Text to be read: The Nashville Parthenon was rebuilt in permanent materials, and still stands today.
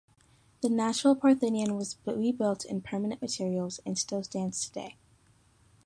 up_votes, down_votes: 2, 0